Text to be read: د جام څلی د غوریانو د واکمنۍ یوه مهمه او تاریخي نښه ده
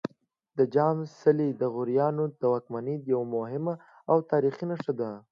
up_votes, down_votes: 2, 0